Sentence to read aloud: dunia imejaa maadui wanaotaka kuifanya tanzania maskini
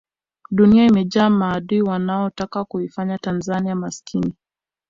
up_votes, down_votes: 2, 0